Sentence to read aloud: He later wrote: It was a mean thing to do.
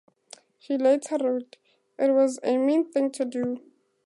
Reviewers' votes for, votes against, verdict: 4, 0, accepted